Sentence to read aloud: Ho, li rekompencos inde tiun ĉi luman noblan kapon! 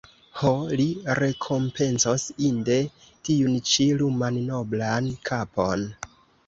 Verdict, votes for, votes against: accepted, 2, 0